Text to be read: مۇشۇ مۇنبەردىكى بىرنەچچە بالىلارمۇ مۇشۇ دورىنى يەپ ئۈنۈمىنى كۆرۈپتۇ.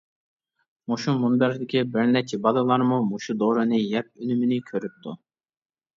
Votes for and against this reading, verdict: 2, 0, accepted